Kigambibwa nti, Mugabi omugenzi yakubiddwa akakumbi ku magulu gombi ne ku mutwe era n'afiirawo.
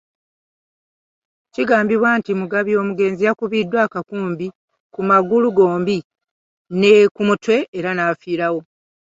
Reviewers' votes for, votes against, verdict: 2, 0, accepted